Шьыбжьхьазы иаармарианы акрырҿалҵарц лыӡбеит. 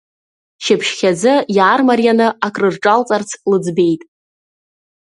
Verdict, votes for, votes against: accepted, 3, 0